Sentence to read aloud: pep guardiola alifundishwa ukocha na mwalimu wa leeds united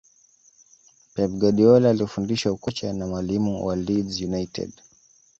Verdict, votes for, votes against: accepted, 2, 0